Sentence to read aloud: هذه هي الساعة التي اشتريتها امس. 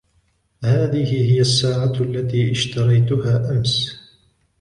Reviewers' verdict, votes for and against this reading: accepted, 2, 0